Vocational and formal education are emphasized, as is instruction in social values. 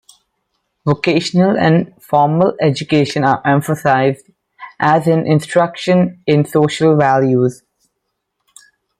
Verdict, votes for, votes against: rejected, 1, 2